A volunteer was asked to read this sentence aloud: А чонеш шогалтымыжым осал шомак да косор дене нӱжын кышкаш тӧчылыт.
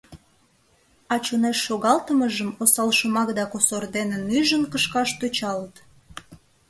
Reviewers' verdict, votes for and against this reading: rejected, 1, 2